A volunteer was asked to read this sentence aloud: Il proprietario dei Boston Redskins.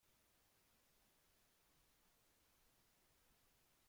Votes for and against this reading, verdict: 0, 2, rejected